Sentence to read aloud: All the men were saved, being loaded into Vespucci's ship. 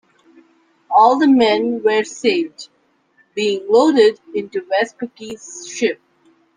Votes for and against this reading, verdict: 2, 1, accepted